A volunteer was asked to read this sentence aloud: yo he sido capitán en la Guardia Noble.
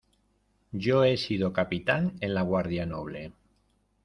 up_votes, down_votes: 2, 1